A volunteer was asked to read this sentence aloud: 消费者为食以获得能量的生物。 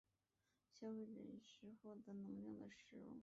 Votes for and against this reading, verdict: 0, 3, rejected